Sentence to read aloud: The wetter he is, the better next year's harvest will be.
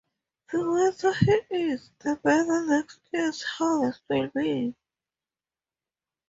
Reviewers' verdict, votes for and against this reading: rejected, 0, 2